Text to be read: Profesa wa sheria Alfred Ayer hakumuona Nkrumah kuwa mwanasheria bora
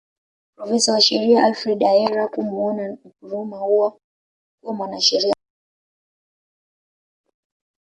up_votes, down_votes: 1, 2